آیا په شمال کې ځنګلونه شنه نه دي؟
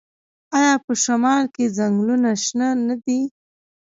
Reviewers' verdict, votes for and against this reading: accepted, 2, 0